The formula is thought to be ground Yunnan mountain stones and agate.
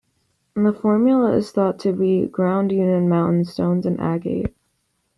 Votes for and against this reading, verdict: 1, 2, rejected